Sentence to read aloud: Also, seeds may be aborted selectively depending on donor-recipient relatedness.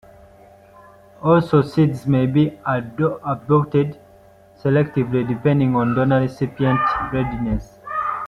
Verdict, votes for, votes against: rejected, 1, 2